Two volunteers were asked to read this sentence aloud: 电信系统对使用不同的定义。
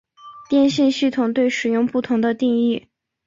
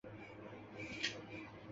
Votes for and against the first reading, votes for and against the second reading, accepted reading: 4, 1, 1, 3, first